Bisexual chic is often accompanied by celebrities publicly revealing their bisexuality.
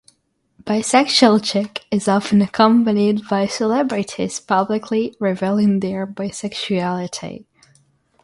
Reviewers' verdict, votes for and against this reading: accepted, 6, 0